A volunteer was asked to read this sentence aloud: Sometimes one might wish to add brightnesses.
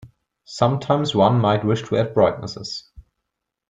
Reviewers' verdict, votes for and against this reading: accepted, 2, 0